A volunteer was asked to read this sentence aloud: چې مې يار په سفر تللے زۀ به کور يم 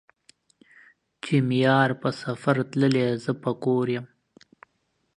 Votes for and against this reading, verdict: 2, 1, accepted